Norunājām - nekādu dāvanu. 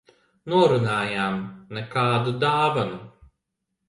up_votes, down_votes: 2, 0